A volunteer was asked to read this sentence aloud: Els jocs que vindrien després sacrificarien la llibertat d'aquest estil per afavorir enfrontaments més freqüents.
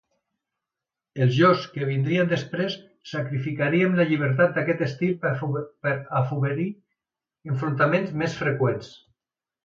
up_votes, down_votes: 0, 2